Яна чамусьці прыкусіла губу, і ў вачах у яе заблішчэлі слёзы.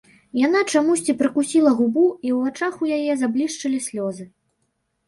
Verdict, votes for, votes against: rejected, 1, 2